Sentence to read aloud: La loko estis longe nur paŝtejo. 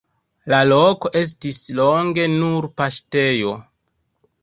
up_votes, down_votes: 2, 1